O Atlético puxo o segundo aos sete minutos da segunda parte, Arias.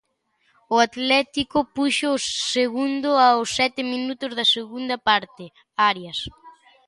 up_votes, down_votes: 2, 0